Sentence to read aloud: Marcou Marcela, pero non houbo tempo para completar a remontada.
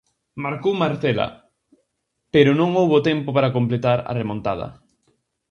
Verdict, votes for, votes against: accepted, 4, 0